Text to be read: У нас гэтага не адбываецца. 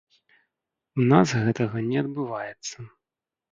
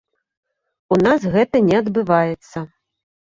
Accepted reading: first